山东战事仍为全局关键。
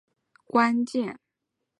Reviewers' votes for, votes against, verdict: 0, 2, rejected